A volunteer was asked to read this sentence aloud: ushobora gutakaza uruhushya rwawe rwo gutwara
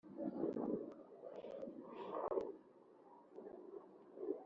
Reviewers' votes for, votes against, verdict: 0, 2, rejected